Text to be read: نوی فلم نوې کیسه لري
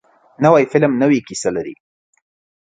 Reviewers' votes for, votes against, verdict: 2, 0, accepted